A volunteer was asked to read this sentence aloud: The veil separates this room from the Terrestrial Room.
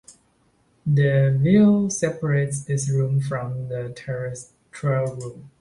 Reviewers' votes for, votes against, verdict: 2, 0, accepted